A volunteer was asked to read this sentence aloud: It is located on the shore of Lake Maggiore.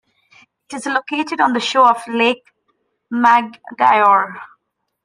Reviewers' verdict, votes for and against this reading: rejected, 0, 2